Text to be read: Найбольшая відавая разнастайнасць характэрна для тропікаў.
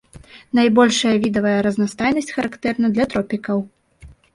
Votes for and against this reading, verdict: 0, 2, rejected